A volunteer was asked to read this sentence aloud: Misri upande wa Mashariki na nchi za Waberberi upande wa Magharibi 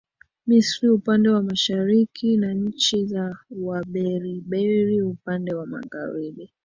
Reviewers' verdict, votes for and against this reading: rejected, 1, 2